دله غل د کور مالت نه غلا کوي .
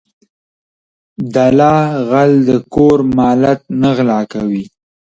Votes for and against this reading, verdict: 0, 2, rejected